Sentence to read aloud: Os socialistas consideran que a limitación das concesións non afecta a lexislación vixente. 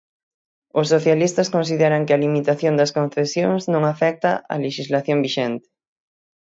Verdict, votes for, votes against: accepted, 6, 0